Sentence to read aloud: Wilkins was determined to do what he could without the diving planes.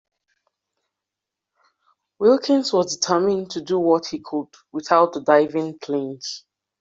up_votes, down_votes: 1, 2